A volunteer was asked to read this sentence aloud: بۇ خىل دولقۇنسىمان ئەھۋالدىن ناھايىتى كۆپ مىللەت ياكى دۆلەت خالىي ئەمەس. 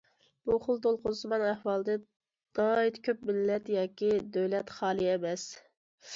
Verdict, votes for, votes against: accepted, 2, 0